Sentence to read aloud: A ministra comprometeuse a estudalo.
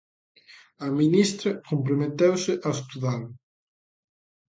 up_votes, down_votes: 2, 0